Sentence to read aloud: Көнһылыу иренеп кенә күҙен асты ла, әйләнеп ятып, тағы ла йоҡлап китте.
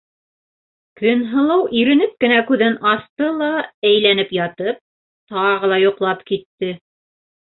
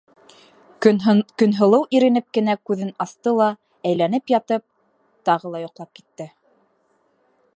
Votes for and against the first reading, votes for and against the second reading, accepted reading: 2, 0, 1, 2, first